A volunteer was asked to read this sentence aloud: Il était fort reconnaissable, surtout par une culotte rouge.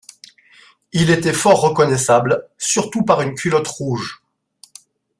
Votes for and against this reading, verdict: 2, 0, accepted